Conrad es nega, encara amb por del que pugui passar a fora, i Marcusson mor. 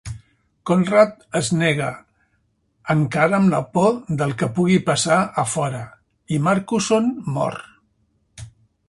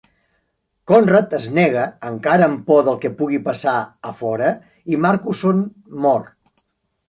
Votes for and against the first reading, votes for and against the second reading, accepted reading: 1, 2, 3, 0, second